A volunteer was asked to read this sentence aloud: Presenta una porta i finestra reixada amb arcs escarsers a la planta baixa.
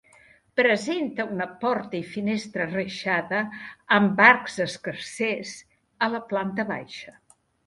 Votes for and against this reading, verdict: 2, 0, accepted